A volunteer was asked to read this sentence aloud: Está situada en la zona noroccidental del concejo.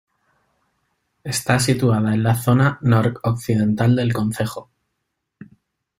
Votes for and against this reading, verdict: 2, 0, accepted